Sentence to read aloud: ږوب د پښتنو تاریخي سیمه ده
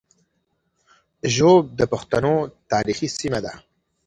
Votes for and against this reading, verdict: 2, 0, accepted